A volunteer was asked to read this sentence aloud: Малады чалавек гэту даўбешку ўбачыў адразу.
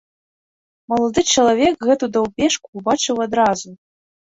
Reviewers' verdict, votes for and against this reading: accepted, 2, 0